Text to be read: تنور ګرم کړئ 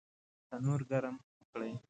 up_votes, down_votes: 2, 0